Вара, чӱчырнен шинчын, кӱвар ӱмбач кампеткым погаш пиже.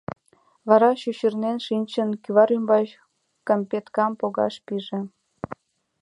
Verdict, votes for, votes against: rejected, 1, 2